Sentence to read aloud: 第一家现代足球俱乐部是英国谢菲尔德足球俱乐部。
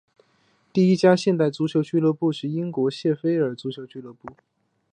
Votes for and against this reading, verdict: 2, 0, accepted